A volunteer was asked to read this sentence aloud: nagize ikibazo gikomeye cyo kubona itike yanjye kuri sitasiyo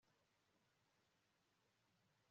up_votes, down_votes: 0, 3